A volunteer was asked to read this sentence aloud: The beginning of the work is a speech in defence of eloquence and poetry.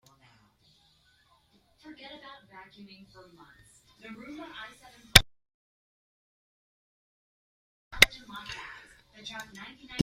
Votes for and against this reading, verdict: 0, 2, rejected